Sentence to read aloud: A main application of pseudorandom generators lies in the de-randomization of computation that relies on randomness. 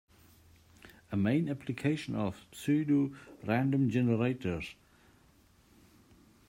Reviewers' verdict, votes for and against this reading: rejected, 0, 2